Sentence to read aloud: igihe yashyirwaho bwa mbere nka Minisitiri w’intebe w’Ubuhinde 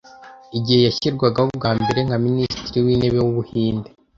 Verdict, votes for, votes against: accepted, 2, 0